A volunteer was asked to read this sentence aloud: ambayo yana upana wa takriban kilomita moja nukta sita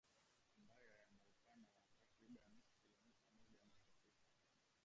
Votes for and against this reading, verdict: 0, 2, rejected